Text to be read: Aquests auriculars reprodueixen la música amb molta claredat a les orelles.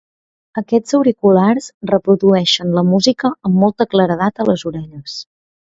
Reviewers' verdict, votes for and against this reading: accepted, 2, 0